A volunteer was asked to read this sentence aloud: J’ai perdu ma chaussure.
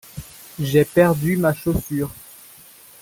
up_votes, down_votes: 1, 2